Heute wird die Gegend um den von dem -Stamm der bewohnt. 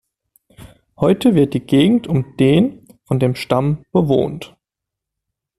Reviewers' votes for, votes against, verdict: 0, 2, rejected